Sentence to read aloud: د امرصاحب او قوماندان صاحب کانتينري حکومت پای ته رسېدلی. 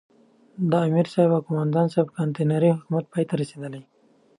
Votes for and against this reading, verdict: 2, 0, accepted